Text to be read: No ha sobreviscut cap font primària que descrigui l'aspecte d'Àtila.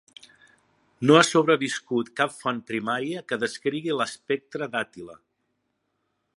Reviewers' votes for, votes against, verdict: 2, 1, accepted